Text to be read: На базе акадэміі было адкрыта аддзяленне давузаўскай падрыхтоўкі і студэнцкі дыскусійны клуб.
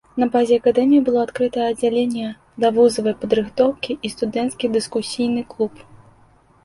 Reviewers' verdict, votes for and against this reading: rejected, 0, 2